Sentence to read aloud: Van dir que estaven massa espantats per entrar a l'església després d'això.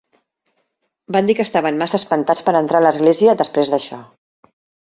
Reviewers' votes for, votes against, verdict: 3, 0, accepted